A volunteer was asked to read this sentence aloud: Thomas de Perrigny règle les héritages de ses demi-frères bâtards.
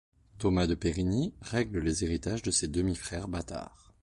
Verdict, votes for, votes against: accepted, 2, 0